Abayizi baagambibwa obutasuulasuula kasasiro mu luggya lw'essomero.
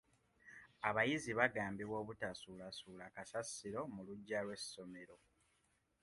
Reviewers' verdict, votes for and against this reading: accepted, 2, 1